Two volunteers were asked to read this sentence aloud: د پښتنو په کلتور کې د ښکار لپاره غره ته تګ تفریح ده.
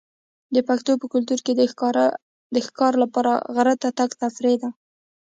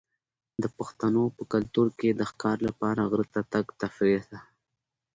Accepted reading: second